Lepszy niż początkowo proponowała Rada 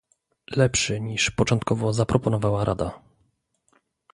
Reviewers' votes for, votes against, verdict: 0, 2, rejected